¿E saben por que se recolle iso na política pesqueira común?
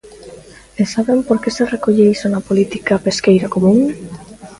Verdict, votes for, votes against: accepted, 2, 0